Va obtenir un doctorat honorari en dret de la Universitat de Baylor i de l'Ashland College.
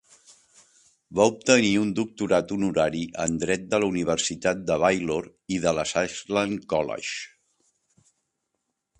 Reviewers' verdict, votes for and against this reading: rejected, 0, 2